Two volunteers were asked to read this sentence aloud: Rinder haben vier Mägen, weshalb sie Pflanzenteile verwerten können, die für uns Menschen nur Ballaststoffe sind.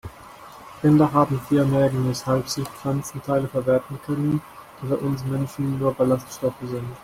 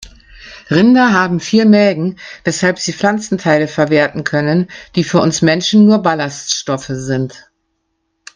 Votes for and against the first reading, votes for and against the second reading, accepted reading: 1, 2, 2, 0, second